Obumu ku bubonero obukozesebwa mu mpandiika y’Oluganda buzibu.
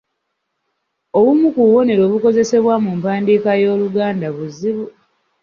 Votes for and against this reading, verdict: 2, 0, accepted